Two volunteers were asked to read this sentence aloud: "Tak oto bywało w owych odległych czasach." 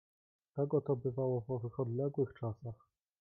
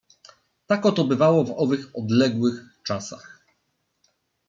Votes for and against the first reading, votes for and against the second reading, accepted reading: 1, 2, 2, 0, second